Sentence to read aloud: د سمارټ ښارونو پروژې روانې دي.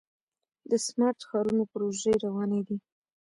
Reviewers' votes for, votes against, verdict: 1, 2, rejected